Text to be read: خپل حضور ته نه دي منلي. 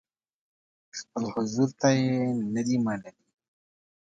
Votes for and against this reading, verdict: 0, 2, rejected